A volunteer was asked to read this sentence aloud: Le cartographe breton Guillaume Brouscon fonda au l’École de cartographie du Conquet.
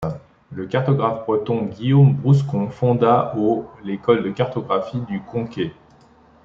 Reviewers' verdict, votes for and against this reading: accepted, 3, 1